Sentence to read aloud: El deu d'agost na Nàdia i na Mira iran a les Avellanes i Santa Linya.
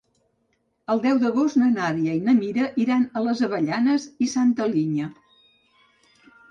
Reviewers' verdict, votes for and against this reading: accepted, 3, 0